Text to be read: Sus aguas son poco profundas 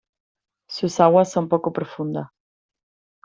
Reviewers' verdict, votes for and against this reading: rejected, 0, 2